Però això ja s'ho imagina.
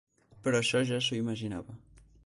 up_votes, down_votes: 0, 4